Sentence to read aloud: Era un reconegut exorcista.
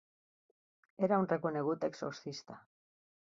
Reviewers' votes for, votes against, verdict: 2, 0, accepted